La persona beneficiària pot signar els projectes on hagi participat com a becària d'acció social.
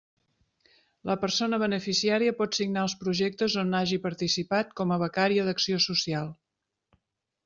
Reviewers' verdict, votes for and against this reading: accepted, 3, 0